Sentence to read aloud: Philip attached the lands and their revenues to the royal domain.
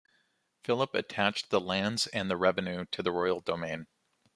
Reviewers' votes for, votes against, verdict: 2, 0, accepted